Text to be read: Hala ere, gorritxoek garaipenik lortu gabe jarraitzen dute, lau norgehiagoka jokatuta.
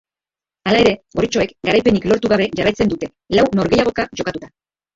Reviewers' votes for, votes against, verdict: 0, 2, rejected